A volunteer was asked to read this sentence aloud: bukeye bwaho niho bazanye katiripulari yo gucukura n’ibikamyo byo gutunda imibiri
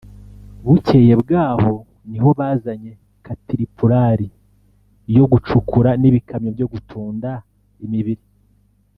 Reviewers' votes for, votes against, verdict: 2, 0, accepted